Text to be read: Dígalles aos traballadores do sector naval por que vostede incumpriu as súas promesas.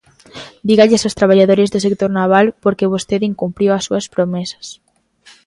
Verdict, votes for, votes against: accepted, 2, 0